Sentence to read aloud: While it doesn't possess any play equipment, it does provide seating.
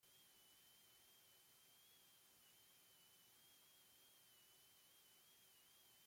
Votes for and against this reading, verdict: 0, 2, rejected